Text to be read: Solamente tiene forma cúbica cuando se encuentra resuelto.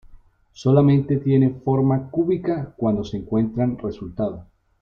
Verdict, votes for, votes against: rejected, 0, 2